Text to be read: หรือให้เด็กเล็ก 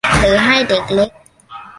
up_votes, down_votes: 3, 0